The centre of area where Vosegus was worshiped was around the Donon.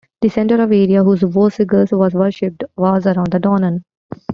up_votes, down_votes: 1, 2